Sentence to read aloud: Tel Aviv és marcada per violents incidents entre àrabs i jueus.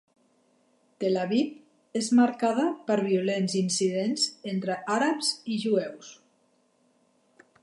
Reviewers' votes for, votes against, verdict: 2, 0, accepted